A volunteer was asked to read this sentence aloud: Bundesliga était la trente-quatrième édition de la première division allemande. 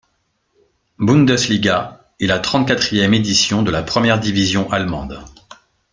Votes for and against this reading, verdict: 0, 2, rejected